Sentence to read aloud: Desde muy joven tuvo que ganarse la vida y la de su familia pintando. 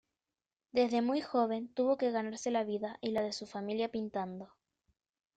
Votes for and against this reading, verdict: 2, 0, accepted